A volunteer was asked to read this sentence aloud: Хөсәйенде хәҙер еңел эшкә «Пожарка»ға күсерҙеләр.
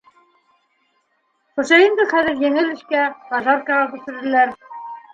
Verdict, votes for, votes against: rejected, 1, 2